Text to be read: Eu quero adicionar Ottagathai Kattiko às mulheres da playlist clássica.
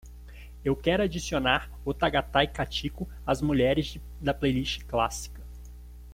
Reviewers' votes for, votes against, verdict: 0, 2, rejected